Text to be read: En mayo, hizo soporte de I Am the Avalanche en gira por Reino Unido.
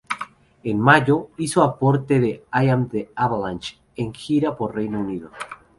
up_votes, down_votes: 0, 2